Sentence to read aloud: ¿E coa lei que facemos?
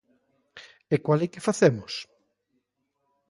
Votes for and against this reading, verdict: 2, 0, accepted